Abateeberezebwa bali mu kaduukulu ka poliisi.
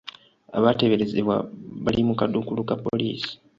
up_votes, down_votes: 2, 0